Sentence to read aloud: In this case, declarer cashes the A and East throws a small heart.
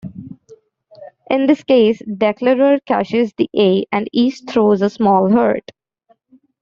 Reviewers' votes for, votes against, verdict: 1, 2, rejected